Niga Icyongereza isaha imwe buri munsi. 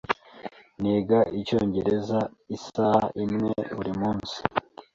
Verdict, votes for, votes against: accepted, 2, 0